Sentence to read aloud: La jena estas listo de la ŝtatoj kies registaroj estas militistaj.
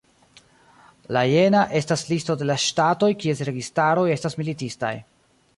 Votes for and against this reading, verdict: 1, 2, rejected